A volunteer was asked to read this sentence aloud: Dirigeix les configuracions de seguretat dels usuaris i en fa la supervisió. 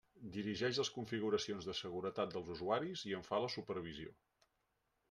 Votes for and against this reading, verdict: 3, 1, accepted